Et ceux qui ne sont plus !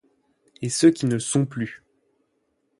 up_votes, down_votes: 8, 0